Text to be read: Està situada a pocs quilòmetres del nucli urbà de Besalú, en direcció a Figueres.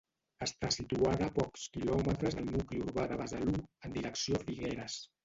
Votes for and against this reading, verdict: 1, 2, rejected